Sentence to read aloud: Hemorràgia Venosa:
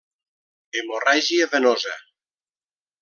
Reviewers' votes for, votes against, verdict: 3, 0, accepted